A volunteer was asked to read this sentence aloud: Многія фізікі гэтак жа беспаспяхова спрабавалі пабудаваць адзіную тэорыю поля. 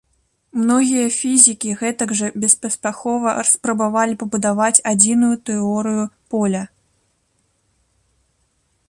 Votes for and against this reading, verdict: 1, 2, rejected